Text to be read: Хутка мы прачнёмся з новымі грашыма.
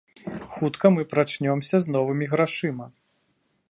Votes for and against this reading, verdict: 2, 0, accepted